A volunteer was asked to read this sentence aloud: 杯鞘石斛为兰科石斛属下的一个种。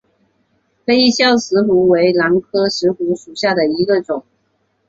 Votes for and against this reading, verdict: 2, 1, accepted